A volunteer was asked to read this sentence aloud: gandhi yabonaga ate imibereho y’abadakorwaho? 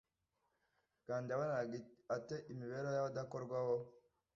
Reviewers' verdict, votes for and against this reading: rejected, 1, 2